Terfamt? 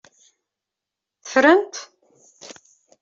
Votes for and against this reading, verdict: 1, 2, rejected